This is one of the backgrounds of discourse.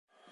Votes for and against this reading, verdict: 0, 2, rejected